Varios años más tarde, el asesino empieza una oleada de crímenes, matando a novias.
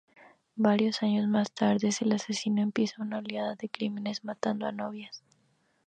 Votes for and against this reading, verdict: 0, 2, rejected